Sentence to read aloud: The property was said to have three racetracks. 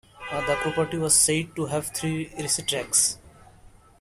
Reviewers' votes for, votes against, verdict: 1, 2, rejected